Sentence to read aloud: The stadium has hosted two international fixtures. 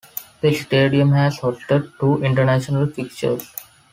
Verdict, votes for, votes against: accepted, 2, 0